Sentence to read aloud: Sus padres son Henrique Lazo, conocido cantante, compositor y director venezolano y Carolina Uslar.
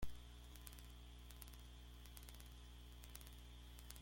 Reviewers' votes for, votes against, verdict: 0, 2, rejected